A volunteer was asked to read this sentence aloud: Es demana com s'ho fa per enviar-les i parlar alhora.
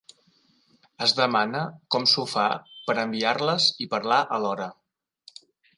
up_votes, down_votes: 4, 0